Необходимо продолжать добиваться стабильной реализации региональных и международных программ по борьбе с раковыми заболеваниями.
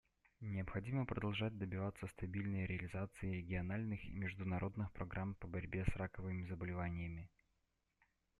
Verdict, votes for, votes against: accepted, 2, 0